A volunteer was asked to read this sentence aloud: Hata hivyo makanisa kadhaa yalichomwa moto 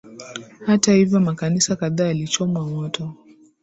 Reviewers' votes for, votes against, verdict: 2, 0, accepted